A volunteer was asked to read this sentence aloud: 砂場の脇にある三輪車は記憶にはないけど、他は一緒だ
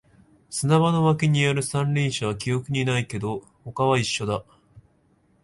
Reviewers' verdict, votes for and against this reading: rejected, 1, 2